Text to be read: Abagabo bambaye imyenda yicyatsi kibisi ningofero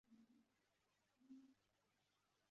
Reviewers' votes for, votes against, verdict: 0, 2, rejected